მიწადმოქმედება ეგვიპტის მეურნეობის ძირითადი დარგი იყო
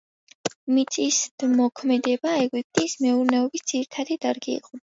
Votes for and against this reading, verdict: 0, 2, rejected